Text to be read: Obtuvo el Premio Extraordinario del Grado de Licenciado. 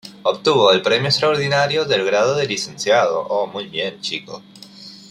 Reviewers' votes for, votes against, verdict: 0, 2, rejected